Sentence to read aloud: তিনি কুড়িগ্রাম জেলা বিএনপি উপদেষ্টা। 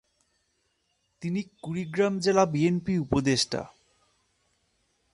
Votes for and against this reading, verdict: 2, 0, accepted